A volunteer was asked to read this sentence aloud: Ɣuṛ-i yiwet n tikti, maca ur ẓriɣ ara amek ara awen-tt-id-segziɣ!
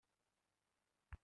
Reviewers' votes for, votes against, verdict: 0, 2, rejected